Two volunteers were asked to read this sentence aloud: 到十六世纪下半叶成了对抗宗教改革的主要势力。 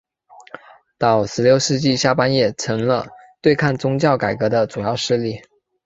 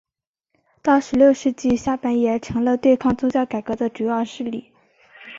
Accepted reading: second